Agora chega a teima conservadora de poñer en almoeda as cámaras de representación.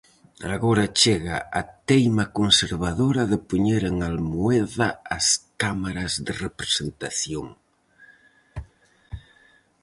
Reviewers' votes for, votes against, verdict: 4, 0, accepted